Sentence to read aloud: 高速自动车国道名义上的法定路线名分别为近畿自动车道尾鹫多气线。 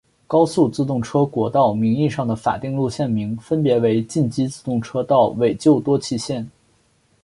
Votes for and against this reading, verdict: 1, 2, rejected